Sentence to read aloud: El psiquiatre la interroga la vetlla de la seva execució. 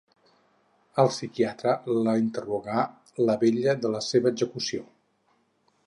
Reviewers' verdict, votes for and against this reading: rejected, 4, 6